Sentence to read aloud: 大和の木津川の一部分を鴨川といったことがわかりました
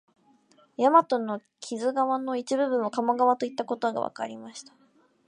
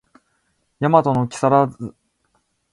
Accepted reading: first